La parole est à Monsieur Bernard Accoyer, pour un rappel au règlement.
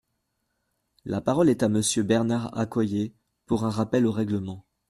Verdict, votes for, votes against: accepted, 2, 0